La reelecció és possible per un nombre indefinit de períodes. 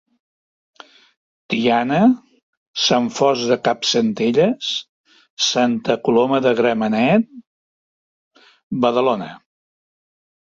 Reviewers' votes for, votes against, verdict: 0, 2, rejected